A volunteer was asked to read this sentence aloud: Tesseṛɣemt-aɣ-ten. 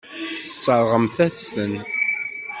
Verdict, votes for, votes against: rejected, 1, 2